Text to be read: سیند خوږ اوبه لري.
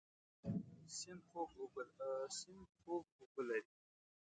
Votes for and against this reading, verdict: 1, 2, rejected